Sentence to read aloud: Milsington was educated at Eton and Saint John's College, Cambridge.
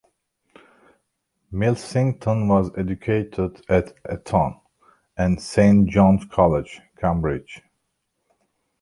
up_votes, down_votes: 2, 1